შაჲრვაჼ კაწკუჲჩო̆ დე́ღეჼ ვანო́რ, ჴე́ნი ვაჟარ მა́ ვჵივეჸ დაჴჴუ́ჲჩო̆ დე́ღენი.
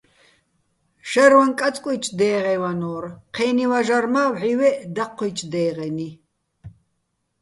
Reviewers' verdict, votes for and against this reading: accepted, 2, 0